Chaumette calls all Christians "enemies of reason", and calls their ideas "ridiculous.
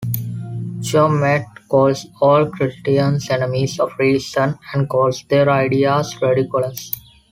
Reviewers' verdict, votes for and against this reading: accepted, 2, 0